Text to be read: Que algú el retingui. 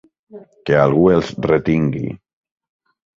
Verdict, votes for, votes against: rejected, 0, 2